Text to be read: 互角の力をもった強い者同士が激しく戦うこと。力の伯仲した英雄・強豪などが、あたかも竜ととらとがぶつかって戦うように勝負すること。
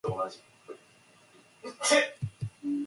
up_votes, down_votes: 0, 2